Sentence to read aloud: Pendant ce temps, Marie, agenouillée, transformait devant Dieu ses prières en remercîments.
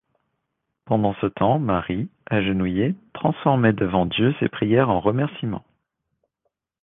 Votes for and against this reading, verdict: 2, 0, accepted